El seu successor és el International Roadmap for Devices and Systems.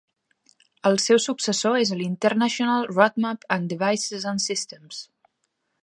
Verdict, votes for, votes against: rejected, 0, 2